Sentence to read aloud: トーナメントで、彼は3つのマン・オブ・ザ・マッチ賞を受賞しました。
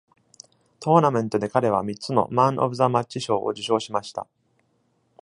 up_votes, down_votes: 0, 2